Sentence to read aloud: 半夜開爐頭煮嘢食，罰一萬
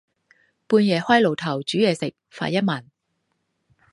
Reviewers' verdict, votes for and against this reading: rejected, 0, 2